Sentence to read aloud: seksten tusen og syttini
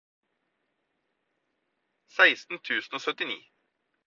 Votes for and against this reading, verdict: 4, 0, accepted